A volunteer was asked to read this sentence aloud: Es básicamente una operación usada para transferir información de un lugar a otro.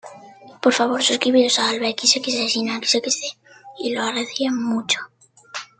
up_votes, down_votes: 0, 2